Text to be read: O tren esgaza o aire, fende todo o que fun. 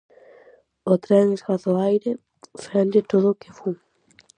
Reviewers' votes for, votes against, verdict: 4, 0, accepted